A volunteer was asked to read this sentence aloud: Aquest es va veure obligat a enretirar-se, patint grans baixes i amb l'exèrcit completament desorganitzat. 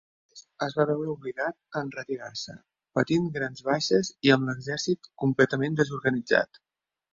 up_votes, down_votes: 0, 2